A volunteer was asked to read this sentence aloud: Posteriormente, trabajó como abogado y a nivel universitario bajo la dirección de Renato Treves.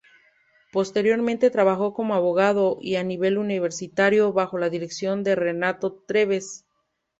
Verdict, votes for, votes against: accepted, 2, 0